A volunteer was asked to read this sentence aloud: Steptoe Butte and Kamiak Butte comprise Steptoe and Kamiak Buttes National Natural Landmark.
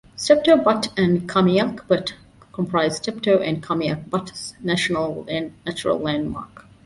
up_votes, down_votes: 2, 3